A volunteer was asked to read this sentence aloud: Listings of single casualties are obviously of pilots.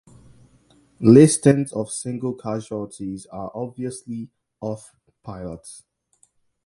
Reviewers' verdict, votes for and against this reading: accepted, 2, 0